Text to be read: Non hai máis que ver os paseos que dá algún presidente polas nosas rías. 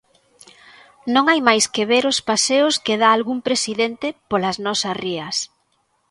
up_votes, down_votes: 2, 0